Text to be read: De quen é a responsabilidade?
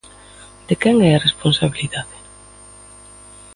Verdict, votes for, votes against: rejected, 0, 2